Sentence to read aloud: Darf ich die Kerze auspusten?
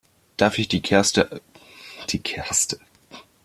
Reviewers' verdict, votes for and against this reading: rejected, 0, 2